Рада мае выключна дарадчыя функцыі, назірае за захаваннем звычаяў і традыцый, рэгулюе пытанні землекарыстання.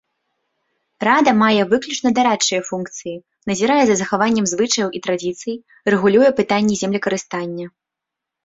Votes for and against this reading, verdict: 1, 2, rejected